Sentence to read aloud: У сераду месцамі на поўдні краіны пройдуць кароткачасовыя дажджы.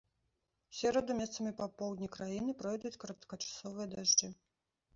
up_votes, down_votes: 0, 2